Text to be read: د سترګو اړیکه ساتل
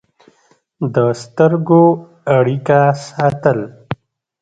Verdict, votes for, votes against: accepted, 2, 0